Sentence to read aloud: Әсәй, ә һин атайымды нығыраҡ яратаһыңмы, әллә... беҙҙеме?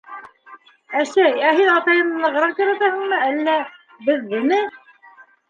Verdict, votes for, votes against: rejected, 0, 2